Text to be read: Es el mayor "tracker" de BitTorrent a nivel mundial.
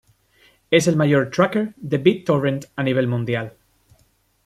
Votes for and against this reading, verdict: 2, 0, accepted